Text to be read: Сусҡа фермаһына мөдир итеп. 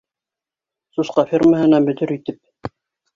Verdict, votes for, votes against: accepted, 2, 0